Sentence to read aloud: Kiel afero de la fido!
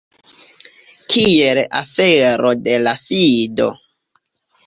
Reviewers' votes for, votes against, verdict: 2, 0, accepted